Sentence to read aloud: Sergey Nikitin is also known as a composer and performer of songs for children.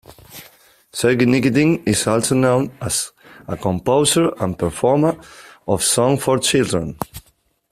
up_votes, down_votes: 1, 2